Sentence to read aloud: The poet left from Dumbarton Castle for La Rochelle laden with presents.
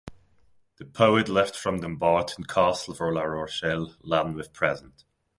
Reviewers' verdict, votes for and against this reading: rejected, 1, 2